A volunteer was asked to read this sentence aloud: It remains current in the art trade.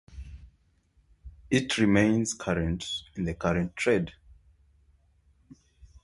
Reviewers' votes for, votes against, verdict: 0, 2, rejected